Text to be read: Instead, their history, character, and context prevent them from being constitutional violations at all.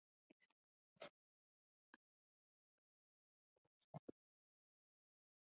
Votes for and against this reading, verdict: 0, 2, rejected